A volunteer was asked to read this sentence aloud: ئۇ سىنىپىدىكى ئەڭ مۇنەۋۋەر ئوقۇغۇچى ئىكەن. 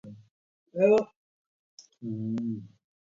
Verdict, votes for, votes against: rejected, 0, 2